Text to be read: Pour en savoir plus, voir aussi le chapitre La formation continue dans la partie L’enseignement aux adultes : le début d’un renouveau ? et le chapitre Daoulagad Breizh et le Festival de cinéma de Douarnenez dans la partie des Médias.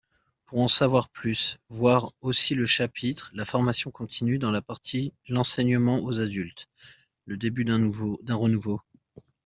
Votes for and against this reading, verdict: 0, 2, rejected